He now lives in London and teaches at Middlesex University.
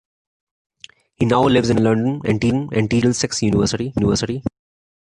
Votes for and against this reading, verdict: 0, 2, rejected